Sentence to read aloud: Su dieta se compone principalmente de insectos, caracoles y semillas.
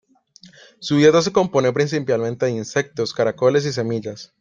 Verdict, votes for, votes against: rejected, 1, 2